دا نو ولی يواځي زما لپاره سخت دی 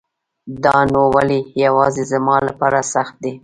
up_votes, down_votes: 1, 2